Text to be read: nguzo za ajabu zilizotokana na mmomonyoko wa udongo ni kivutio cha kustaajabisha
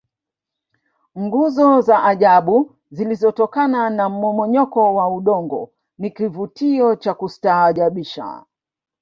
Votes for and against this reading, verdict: 0, 2, rejected